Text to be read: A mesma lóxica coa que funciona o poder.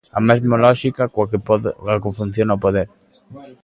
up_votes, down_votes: 1, 2